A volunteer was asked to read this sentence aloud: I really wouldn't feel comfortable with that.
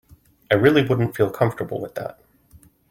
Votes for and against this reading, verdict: 2, 0, accepted